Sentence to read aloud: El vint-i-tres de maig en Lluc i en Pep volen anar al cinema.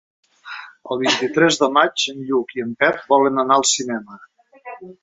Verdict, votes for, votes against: rejected, 1, 2